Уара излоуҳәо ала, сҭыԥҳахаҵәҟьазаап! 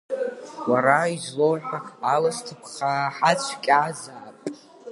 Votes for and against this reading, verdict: 0, 2, rejected